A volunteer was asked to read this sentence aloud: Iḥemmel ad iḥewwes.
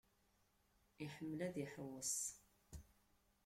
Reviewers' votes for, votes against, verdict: 0, 2, rejected